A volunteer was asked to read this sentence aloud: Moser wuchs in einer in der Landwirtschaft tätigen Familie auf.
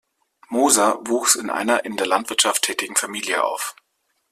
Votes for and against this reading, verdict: 2, 0, accepted